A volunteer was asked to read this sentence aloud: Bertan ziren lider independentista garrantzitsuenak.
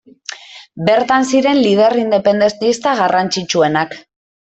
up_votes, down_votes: 0, 2